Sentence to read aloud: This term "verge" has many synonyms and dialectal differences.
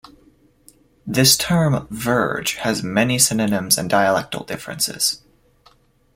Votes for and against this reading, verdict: 2, 0, accepted